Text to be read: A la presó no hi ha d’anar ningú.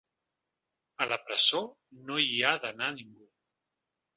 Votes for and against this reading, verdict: 0, 2, rejected